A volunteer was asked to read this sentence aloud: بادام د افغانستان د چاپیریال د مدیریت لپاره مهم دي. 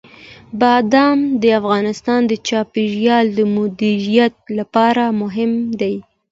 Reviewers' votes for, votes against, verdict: 2, 0, accepted